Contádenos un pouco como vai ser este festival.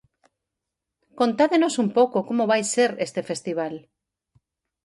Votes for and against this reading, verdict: 4, 0, accepted